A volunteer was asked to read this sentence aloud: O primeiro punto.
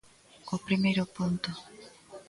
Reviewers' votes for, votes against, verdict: 2, 0, accepted